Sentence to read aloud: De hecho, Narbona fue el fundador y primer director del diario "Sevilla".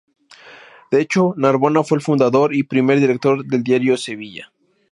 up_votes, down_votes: 2, 0